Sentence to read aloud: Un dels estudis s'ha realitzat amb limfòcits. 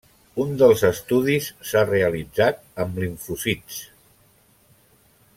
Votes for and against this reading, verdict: 1, 2, rejected